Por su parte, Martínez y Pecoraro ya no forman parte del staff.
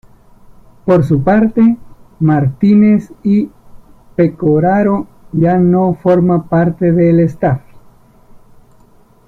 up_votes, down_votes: 2, 0